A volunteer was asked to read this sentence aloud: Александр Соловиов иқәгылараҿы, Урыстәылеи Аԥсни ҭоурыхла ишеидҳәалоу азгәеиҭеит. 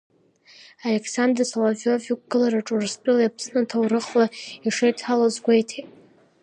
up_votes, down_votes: 2, 0